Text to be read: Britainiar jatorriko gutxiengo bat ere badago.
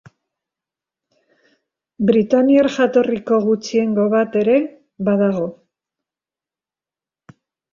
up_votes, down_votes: 2, 0